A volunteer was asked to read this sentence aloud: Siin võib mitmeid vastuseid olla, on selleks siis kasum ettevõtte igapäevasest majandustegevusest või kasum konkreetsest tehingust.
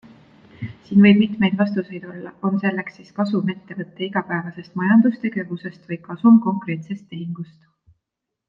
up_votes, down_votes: 2, 0